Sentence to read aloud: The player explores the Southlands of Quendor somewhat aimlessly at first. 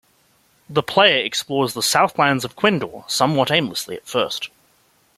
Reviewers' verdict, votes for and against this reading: accepted, 2, 0